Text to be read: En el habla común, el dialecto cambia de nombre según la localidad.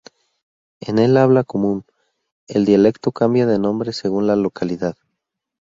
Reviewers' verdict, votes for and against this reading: accepted, 2, 0